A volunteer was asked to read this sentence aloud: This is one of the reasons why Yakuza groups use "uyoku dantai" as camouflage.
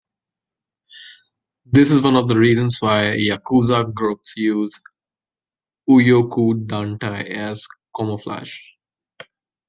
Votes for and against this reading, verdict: 1, 2, rejected